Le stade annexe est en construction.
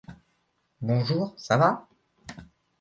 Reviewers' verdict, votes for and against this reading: rejected, 0, 2